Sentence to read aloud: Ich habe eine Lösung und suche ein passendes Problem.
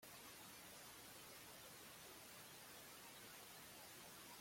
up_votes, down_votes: 0, 2